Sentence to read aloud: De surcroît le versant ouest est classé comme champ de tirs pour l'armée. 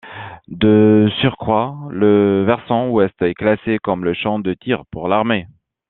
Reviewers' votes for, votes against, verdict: 0, 2, rejected